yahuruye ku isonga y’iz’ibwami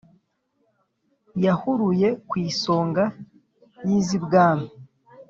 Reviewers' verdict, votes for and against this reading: accepted, 2, 0